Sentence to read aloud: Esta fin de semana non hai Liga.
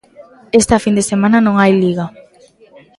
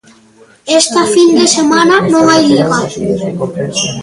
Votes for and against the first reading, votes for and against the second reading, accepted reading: 2, 0, 0, 2, first